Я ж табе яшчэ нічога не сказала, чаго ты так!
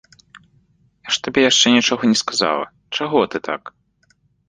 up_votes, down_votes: 2, 1